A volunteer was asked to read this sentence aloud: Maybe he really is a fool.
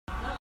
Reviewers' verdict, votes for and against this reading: rejected, 0, 2